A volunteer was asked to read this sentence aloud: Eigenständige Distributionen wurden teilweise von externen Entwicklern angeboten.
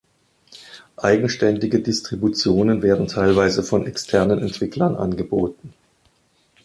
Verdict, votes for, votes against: rejected, 0, 2